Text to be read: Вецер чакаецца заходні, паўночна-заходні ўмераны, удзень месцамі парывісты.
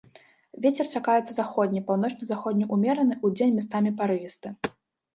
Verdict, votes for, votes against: rejected, 0, 2